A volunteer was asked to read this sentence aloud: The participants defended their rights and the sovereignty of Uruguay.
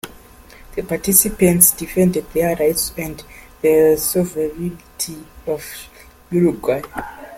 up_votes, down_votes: 2, 1